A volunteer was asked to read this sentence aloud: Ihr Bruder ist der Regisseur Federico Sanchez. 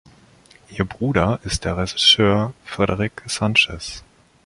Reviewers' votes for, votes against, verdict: 1, 3, rejected